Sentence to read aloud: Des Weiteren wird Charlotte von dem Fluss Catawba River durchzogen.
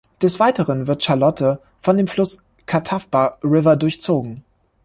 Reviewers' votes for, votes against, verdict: 0, 2, rejected